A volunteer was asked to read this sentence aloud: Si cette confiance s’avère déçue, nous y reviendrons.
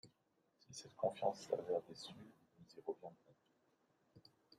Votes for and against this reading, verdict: 1, 2, rejected